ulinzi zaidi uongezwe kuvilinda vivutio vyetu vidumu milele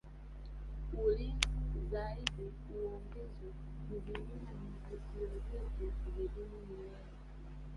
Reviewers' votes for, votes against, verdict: 0, 2, rejected